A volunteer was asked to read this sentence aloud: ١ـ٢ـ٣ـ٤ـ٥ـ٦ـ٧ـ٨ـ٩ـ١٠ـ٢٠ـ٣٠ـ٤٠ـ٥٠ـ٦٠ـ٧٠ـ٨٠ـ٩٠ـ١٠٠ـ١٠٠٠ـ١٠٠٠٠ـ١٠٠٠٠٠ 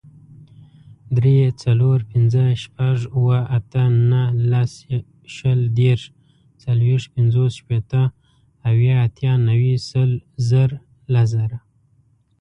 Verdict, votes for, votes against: rejected, 0, 2